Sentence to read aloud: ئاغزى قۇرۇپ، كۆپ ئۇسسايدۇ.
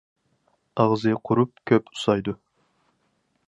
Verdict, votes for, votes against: accepted, 4, 0